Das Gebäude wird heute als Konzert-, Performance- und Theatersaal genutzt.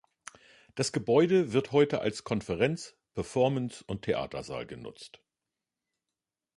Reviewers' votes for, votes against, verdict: 0, 2, rejected